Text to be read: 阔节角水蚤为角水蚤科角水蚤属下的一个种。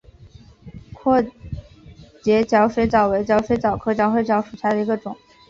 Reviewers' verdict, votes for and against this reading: accepted, 3, 0